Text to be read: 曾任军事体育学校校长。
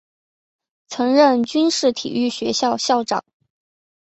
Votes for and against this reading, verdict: 2, 0, accepted